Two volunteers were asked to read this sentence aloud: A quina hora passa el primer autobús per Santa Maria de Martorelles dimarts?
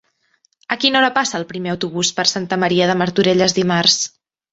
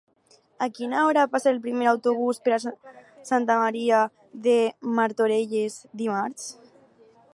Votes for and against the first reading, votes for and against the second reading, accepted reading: 3, 0, 0, 4, first